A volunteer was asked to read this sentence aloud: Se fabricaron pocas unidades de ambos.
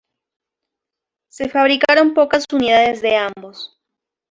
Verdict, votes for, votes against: accepted, 2, 0